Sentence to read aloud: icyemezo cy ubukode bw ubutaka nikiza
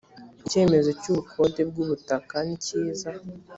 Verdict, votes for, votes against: accepted, 2, 0